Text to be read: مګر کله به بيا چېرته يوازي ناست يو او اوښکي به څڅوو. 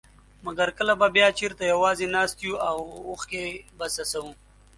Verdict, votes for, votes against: accepted, 2, 0